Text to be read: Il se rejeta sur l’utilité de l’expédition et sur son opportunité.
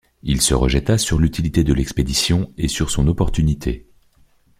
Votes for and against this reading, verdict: 0, 2, rejected